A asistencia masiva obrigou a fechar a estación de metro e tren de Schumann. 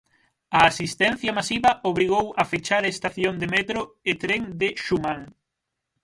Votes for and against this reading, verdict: 0, 6, rejected